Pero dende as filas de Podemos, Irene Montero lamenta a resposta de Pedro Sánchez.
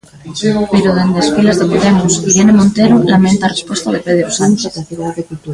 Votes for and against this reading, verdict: 0, 2, rejected